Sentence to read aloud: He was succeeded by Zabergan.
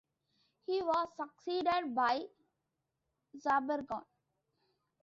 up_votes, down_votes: 1, 2